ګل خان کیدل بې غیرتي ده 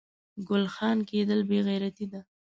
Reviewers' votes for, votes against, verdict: 3, 0, accepted